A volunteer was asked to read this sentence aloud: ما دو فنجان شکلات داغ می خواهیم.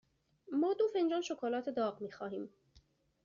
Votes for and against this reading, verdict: 2, 0, accepted